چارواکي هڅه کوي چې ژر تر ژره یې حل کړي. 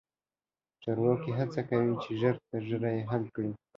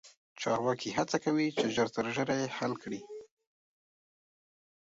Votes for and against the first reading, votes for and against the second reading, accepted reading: 0, 2, 3, 0, second